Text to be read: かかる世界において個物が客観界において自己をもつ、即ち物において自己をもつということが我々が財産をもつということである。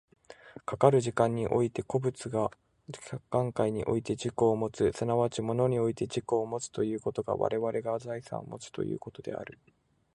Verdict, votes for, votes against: rejected, 2, 4